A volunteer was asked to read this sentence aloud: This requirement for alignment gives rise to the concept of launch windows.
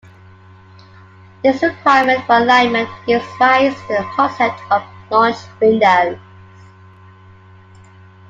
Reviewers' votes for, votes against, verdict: 0, 2, rejected